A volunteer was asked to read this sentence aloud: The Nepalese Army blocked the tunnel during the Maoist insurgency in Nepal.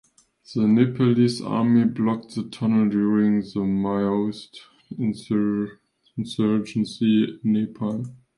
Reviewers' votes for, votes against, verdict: 0, 2, rejected